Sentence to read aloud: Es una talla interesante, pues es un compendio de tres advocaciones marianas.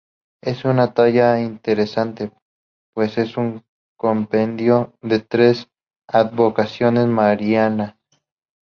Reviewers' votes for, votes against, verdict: 2, 2, rejected